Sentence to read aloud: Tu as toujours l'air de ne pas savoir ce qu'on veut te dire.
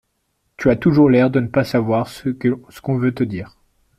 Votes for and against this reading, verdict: 0, 2, rejected